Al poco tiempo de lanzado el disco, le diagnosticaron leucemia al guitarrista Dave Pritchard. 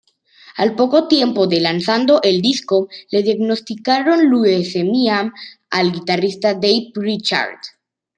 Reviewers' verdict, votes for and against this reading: rejected, 1, 2